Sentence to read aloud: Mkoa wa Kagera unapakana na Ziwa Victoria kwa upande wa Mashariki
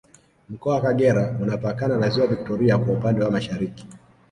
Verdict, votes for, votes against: accepted, 2, 0